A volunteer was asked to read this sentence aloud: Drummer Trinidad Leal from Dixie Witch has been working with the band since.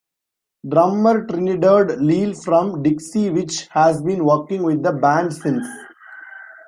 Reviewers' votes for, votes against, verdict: 1, 2, rejected